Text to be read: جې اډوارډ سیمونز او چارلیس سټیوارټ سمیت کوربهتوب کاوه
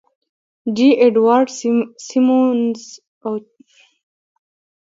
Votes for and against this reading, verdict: 0, 2, rejected